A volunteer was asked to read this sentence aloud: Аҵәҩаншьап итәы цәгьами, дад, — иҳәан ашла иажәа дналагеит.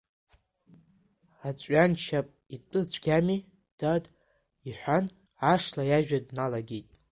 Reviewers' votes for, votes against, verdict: 2, 1, accepted